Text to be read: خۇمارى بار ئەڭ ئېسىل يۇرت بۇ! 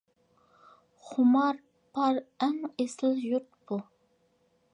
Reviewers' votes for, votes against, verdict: 0, 2, rejected